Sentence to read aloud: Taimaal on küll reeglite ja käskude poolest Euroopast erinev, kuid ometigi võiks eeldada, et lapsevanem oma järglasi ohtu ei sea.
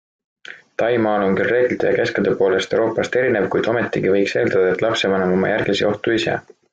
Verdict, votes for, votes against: accepted, 2, 0